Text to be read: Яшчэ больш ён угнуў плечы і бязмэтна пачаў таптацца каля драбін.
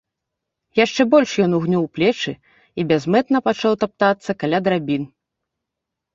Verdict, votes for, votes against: rejected, 0, 2